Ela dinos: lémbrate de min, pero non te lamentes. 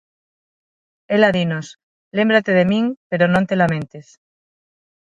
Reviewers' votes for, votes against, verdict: 6, 0, accepted